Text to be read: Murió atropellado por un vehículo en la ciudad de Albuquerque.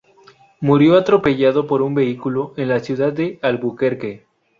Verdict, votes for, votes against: accepted, 2, 0